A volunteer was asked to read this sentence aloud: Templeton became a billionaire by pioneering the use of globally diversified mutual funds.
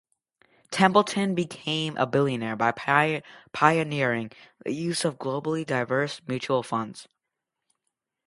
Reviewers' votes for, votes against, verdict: 0, 2, rejected